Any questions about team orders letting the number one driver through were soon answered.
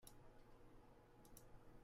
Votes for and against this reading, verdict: 0, 2, rejected